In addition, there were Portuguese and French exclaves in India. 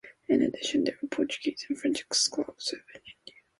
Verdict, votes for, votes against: accepted, 2, 1